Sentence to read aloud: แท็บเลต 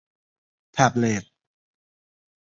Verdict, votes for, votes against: rejected, 1, 2